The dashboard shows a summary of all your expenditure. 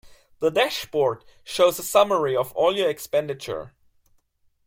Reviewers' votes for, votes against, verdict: 2, 0, accepted